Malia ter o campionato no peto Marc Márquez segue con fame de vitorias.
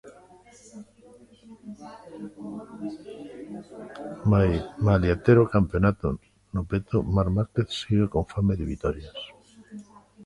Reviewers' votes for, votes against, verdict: 0, 2, rejected